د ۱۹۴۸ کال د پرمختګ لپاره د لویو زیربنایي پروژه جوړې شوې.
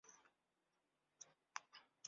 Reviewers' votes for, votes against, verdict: 0, 2, rejected